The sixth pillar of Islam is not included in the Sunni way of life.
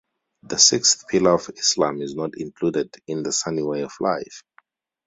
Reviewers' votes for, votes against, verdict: 2, 0, accepted